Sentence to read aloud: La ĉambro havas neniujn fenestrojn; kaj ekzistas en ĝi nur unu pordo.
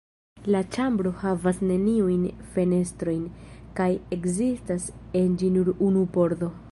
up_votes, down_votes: 2, 1